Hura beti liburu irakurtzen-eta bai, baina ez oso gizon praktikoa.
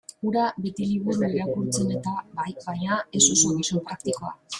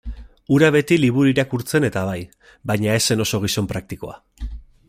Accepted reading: second